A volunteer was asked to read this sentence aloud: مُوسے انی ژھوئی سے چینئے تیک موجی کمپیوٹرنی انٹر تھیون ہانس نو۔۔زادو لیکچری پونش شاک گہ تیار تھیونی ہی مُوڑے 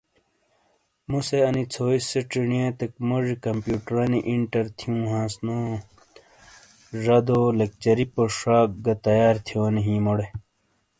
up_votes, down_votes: 2, 0